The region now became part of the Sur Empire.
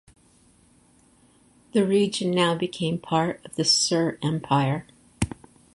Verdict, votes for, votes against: accepted, 4, 0